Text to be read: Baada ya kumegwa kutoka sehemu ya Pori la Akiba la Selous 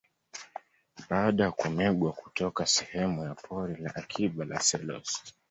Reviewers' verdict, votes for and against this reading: accepted, 2, 0